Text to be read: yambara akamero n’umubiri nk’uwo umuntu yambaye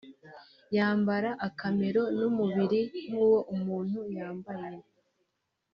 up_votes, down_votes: 2, 1